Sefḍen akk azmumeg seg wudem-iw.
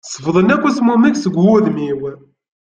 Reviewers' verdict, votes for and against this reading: accepted, 2, 0